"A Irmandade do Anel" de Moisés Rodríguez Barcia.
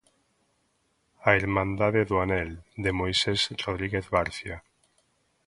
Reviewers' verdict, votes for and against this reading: accepted, 2, 0